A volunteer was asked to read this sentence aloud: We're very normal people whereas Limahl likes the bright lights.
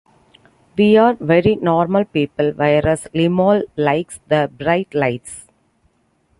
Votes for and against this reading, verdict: 0, 2, rejected